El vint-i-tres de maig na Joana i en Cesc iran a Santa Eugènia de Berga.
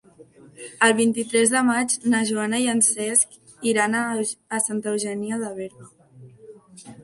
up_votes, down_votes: 0, 2